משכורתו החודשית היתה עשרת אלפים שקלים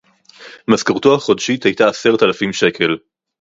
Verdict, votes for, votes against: rejected, 0, 4